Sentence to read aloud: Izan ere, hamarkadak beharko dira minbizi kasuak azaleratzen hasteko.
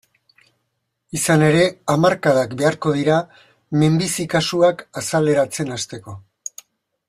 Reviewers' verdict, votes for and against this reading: accepted, 2, 0